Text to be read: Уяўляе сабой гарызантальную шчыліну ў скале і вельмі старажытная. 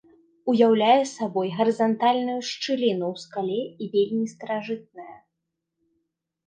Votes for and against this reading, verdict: 1, 2, rejected